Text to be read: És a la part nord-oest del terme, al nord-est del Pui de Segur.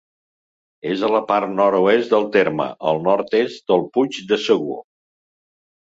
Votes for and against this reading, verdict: 1, 2, rejected